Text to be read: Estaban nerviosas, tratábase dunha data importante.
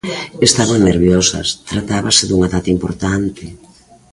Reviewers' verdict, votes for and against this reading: accepted, 2, 0